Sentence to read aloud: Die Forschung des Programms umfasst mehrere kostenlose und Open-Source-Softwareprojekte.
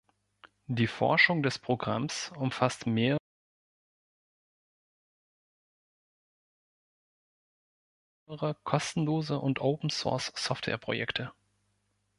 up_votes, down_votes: 1, 2